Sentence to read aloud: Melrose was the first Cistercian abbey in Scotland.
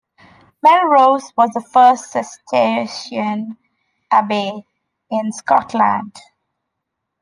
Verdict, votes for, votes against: accepted, 2, 0